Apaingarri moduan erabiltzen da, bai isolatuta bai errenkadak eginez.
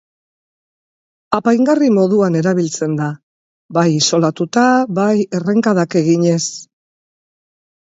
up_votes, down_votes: 2, 0